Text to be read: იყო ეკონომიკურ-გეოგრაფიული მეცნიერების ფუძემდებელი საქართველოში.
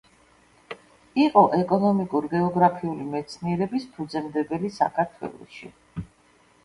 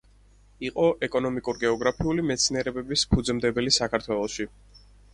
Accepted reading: first